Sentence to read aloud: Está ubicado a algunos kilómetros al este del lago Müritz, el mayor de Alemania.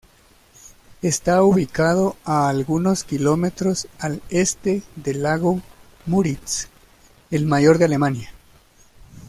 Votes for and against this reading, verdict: 2, 1, accepted